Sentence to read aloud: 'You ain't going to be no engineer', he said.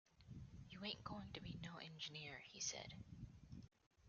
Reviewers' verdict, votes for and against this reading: accepted, 2, 0